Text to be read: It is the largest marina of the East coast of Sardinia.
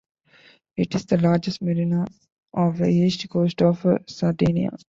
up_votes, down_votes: 1, 2